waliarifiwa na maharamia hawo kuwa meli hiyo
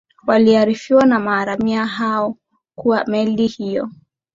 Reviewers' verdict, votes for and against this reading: rejected, 0, 2